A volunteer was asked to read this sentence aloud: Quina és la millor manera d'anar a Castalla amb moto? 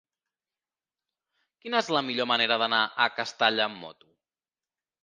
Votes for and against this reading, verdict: 3, 0, accepted